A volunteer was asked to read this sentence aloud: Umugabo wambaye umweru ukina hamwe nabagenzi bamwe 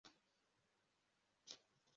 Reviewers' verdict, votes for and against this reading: rejected, 0, 2